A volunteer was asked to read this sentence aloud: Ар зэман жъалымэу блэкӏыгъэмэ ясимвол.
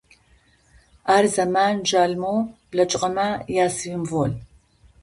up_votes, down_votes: 2, 0